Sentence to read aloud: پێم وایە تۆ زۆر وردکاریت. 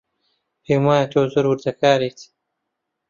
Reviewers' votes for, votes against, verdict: 0, 2, rejected